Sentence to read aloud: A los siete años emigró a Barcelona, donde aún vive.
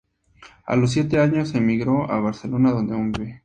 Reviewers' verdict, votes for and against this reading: accepted, 4, 0